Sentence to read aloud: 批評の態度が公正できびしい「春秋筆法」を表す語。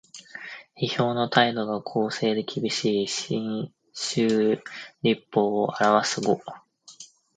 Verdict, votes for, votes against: rejected, 1, 2